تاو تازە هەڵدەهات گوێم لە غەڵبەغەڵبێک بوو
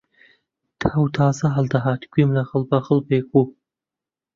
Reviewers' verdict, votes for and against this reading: rejected, 1, 2